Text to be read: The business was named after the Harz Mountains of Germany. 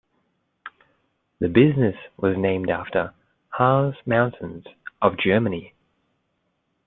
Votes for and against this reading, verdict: 1, 2, rejected